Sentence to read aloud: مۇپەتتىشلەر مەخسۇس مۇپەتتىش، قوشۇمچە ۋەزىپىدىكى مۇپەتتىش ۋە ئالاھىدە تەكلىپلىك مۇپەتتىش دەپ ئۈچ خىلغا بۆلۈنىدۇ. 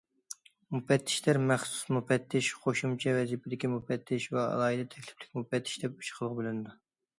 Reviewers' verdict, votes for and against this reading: accepted, 2, 0